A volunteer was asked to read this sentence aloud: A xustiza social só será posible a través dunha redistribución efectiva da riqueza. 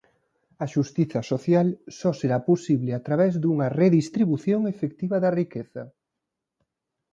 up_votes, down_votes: 2, 0